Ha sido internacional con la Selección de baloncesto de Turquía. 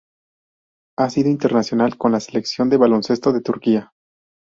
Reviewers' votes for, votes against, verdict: 4, 0, accepted